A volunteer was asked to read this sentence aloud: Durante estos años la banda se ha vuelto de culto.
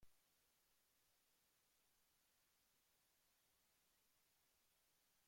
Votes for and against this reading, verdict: 0, 2, rejected